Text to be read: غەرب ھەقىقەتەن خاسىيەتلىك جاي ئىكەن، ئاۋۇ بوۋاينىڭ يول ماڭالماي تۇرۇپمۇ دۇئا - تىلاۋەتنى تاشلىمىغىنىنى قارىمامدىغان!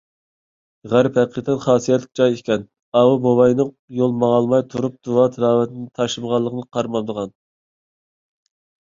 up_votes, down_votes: 2, 3